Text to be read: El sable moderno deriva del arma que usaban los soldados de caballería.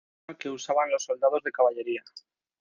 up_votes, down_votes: 0, 2